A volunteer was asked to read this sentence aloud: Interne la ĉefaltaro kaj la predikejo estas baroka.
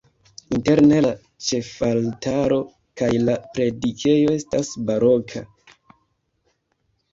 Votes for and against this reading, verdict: 2, 0, accepted